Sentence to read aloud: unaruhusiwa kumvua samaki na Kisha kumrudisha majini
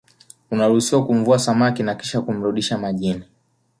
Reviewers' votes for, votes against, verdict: 2, 0, accepted